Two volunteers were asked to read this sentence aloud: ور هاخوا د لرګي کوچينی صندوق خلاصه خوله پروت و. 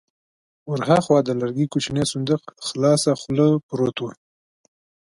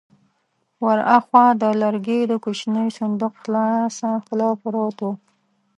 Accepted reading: first